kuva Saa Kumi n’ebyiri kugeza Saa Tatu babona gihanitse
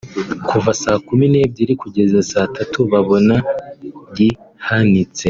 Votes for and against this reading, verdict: 2, 1, accepted